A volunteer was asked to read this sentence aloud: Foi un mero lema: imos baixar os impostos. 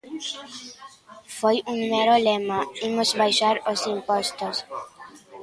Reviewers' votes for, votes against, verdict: 1, 2, rejected